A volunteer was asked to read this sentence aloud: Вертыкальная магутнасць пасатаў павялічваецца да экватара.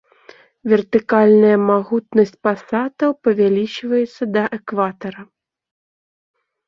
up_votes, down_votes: 2, 0